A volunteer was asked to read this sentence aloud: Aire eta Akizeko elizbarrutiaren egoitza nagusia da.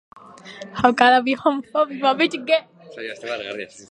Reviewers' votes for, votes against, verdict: 1, 6, rejected